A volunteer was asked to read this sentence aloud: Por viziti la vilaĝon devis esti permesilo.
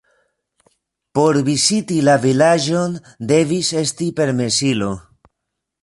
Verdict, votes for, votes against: rejected, 1, 2